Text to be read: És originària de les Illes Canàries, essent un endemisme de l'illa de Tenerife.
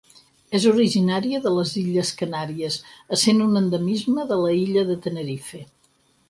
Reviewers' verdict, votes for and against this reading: rejected, 0, 4